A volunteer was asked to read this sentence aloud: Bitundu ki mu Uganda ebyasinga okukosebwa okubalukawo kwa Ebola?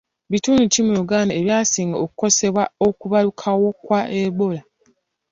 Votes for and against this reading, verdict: 2, 0, accepted